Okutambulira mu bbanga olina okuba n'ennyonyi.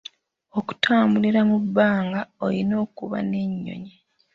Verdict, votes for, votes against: accepted, 2, 0